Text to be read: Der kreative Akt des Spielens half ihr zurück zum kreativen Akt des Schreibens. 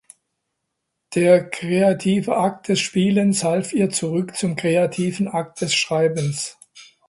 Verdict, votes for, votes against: accepted, 2, 0